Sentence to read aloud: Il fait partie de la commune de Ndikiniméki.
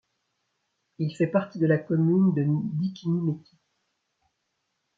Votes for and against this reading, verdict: 0, 2, rejected